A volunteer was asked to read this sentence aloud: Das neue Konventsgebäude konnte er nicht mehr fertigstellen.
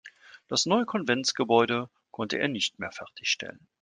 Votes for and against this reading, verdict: 3, 0, accepted